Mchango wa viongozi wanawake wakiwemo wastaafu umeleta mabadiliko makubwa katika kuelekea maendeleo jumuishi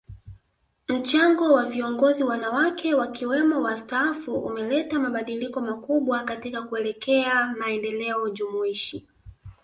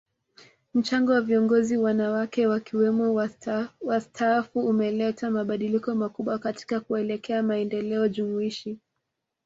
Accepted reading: second